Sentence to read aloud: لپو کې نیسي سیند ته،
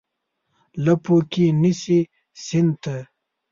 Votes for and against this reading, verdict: 2, 0, accepted